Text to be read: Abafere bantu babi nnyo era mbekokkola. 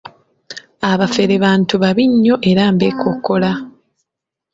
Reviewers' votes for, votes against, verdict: 2, 0, accepted